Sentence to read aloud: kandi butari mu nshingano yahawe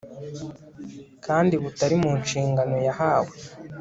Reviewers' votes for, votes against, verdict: 3, 0, accepted